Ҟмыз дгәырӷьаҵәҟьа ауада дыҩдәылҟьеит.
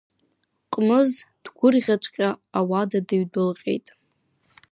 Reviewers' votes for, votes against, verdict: 1, 2, rejected